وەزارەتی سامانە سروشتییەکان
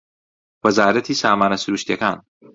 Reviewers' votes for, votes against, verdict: 2, 0, accepted